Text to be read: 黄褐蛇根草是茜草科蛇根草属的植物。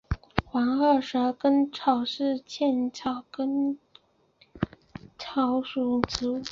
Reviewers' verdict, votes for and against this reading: accepted, 2, 0